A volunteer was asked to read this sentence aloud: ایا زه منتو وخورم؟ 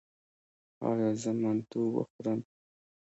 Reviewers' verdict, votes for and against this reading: rejected, 1, 2